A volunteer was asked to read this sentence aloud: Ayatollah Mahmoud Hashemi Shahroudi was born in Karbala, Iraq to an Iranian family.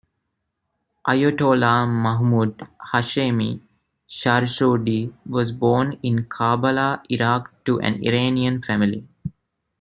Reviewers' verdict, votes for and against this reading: accepted, 2, 0